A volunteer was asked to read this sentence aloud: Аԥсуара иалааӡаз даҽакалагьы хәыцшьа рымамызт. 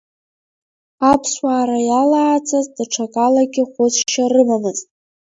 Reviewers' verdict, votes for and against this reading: rejected, 1, 2